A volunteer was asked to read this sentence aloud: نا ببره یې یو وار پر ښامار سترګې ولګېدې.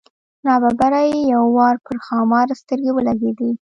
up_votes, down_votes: 2, 0